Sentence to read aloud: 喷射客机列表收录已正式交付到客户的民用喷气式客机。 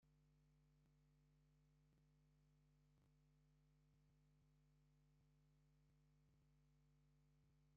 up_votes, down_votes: 0, 2